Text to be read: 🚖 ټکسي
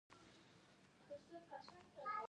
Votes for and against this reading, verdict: 2, 1, accepted